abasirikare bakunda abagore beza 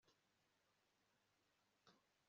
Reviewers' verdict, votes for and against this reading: rejected, 1, 2